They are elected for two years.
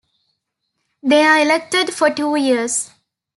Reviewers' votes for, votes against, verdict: 2, 0, accepted